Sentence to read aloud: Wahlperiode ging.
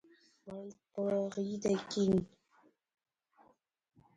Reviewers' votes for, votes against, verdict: 0, 2, rejected